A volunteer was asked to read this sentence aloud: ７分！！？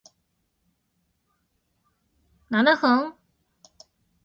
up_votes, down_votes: 0, 2